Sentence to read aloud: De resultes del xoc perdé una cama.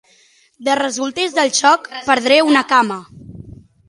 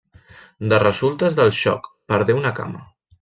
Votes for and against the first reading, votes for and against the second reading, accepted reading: 3, 3, 3, 0, second